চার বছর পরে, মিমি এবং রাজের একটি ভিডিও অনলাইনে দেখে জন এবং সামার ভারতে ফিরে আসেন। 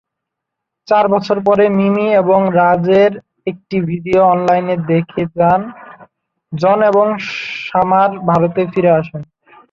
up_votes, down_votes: 3, 6